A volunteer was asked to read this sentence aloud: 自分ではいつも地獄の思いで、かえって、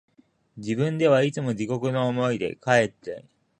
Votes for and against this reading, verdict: 4, 1, accepted